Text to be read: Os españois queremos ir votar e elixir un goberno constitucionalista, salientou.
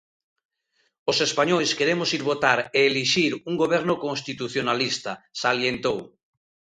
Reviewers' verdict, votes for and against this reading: accepted, 2, 0